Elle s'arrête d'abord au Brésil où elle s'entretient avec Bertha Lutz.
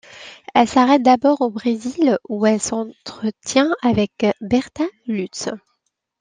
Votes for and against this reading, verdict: 2, 0, accepted